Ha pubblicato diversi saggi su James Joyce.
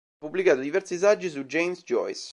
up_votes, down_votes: 1, 2